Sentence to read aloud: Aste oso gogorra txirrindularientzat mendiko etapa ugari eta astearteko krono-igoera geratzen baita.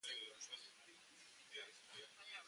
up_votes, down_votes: 0, 2